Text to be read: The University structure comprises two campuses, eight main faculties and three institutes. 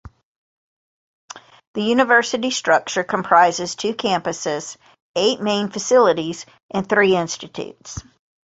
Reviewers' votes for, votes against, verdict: 1, 2, rejected